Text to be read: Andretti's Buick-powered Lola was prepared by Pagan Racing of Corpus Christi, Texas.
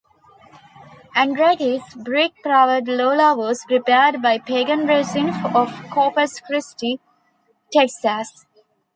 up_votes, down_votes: 1, 2